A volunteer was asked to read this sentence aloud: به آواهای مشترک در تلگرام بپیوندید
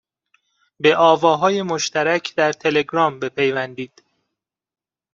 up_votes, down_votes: 2, 0